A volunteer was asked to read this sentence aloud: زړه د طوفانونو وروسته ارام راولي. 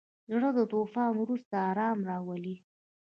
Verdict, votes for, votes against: accepted, 2, 1